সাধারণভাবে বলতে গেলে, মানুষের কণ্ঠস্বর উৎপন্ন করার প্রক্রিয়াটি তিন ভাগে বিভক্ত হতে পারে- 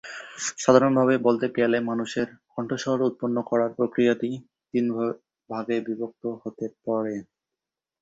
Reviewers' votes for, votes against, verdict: 0, 3, rejected